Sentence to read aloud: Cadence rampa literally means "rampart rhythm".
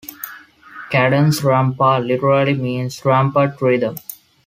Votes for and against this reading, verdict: 2, 0, accepted